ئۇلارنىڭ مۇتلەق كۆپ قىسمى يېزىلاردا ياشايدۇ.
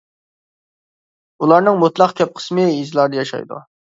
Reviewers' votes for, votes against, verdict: 2, 0, accepted